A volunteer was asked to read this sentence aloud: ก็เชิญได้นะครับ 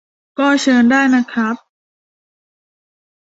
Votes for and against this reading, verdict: 2, 0, accepted